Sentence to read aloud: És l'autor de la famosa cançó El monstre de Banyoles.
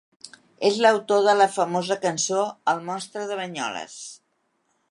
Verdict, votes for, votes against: accepted, 3, 0